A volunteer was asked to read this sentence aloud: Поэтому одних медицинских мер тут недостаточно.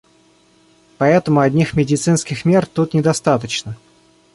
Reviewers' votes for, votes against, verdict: 2, 0, accepted